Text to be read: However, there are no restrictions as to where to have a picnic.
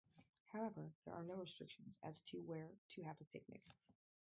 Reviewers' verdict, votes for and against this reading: rejected, 2, 4